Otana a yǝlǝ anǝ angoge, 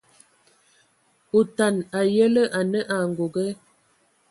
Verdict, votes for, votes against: accepted, 2, 0